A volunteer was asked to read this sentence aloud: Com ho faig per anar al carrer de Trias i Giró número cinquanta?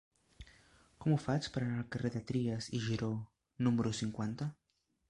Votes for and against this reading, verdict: 1, 2, rejected